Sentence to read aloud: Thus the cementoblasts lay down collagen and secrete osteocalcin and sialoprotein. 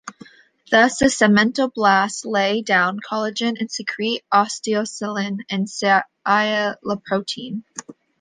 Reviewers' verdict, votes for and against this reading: rejected, 1, 2